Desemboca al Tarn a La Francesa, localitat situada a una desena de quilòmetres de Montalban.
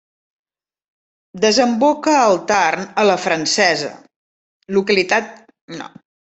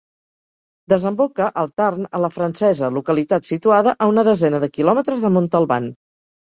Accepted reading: second